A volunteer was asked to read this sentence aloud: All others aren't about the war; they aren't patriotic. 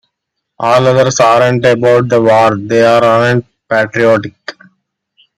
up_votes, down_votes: 1, 2